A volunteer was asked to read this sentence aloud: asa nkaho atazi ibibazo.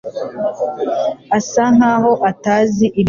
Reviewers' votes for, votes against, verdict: 1, 2, rejected